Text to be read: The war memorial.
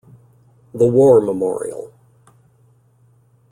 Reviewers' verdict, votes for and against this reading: accepted, 2, 0